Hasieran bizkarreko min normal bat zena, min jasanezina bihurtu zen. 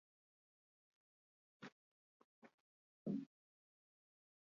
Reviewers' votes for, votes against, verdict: 0, 6, rejected